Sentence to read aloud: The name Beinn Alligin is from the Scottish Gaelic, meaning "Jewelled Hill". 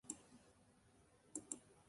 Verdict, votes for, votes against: rejected, 0, 3